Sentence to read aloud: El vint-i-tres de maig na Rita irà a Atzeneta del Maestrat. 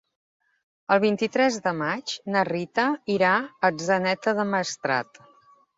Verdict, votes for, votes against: accepted, 3, 0